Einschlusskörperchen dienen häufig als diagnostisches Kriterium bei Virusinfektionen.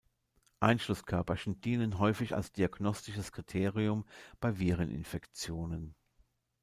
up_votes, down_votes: 0, 2